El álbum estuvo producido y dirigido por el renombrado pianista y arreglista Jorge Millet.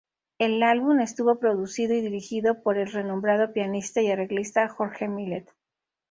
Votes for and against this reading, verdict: 2, 0, accepted